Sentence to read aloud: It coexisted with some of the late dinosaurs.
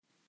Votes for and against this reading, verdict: 0, 2, rejected